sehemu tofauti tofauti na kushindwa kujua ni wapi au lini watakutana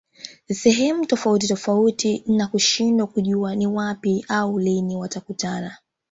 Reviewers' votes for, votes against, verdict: 3, 1, accepted